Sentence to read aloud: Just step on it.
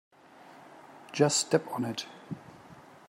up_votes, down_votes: 3, 0